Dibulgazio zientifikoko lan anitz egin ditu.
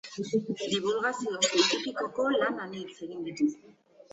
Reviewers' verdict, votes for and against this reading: rejected, 1, 2